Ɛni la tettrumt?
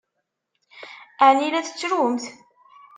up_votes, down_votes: 2, 0